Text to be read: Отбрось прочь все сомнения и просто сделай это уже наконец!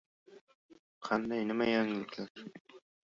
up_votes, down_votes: 0, 2